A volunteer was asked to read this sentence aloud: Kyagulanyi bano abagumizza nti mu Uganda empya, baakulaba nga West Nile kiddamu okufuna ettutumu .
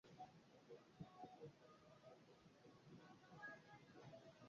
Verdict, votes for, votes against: rejected, 0, 2